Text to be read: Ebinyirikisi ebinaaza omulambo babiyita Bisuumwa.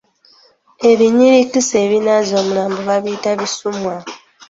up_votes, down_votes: 1, 2